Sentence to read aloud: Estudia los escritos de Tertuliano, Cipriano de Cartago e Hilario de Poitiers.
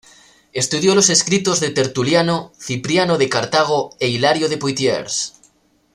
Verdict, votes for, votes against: accepted, 2, 1